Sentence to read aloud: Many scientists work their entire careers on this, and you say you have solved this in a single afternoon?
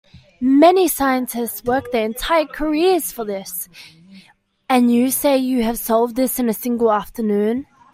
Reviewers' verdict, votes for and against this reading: rejected, 1, 2